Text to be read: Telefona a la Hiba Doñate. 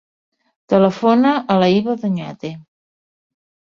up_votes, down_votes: 2, 0